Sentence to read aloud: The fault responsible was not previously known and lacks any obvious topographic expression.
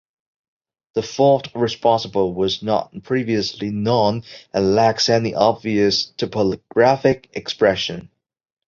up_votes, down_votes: 2, 0